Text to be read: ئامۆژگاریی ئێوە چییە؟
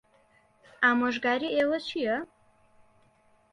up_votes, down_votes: 1, 2